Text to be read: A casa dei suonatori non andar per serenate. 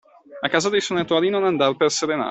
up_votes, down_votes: 2, 0